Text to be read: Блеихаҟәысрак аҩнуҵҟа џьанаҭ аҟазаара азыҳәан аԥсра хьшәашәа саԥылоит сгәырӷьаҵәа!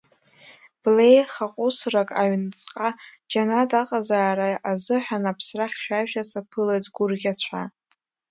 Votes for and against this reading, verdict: 0, 2, rejected